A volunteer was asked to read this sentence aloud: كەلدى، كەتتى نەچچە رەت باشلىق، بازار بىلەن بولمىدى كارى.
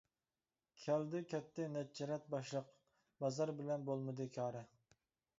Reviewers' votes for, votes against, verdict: 2, 0, accepted